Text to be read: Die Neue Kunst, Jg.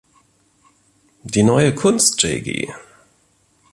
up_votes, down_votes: 2, 0